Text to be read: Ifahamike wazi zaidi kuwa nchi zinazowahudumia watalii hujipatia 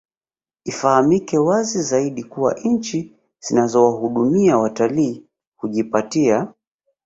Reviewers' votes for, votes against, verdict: 2, 0, accepted